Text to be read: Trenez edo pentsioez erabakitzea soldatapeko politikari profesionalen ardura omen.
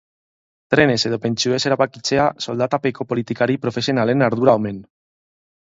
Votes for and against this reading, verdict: 2, 0, accepted